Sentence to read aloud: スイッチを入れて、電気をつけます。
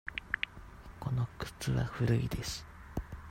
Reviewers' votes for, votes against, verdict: 0, 2, rejected